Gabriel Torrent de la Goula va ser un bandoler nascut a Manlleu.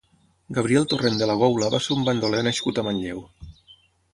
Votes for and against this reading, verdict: 12, 0, accepted